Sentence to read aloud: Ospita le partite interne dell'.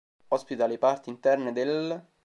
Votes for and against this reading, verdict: 1, 2, rejected